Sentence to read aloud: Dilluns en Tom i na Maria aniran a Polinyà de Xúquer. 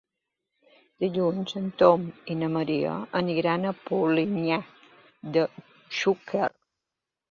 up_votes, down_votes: 2, 1